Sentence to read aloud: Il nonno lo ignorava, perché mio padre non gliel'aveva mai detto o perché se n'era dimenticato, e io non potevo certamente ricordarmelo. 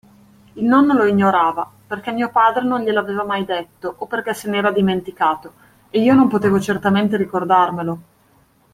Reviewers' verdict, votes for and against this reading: accepted, 2, 0